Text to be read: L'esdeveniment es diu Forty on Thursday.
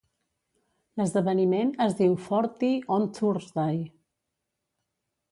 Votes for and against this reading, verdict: 1, 2, rejected